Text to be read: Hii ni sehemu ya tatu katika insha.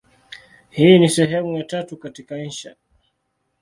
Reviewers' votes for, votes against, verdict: 2, 0, accepted